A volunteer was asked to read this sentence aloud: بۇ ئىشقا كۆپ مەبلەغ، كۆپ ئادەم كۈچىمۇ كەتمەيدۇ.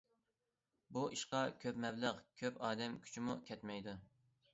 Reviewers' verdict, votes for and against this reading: accepted, 2, 0